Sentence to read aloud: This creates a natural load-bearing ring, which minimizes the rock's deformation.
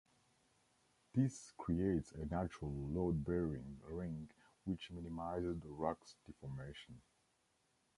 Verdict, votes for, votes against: rejected, 1, 2